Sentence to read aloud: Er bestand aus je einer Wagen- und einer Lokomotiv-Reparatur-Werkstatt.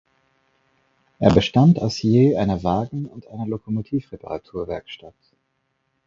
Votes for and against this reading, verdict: 4, 0, accepted